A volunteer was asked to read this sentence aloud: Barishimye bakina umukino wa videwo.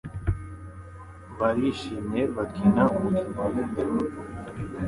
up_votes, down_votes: 2, 0